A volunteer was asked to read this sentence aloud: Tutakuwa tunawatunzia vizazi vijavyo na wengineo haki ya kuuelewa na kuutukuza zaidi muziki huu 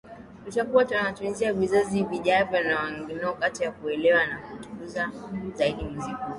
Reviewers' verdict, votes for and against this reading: rejected, 1, 2